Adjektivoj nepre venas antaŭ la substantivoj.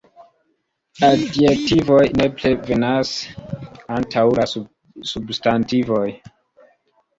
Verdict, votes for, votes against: rejected, 1, 2